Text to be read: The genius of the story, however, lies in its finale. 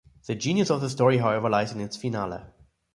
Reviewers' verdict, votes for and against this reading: rejected, 1, 2